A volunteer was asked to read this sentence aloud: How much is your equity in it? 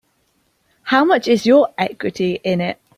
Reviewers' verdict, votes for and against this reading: accepted, 2, 0